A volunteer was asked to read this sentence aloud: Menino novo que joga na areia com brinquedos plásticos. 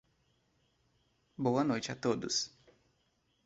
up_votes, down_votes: 0, 2